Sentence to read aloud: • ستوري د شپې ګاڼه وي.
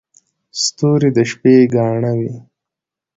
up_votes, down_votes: 1, 2